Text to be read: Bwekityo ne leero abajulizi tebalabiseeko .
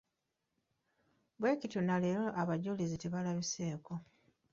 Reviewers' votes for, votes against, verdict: 1, 2, rejected